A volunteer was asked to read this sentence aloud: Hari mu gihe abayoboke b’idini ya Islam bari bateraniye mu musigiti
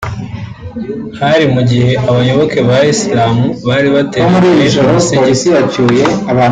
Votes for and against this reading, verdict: 0, 2, rejected